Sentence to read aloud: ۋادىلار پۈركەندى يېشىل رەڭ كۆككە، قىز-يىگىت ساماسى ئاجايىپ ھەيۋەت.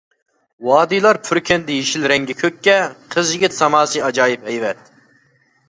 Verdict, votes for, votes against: rejected, 1, 2